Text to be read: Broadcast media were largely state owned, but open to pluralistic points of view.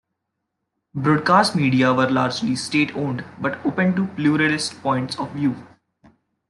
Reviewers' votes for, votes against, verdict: 0, 2, rejected